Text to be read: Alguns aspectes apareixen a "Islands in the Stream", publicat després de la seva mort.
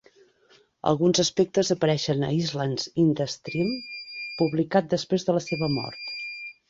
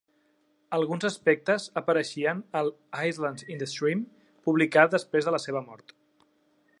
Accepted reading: first